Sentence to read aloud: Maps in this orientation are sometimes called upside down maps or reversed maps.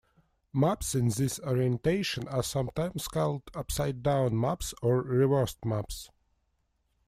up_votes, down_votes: 2, 0